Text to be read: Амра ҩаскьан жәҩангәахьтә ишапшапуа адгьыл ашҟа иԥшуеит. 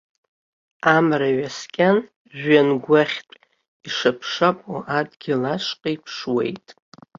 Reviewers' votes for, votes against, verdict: 2, 0, accepted